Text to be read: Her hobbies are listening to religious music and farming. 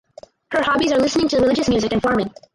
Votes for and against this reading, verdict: 2, 2, rejected